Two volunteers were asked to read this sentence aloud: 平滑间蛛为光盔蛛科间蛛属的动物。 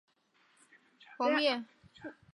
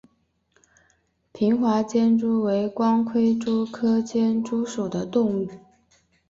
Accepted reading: second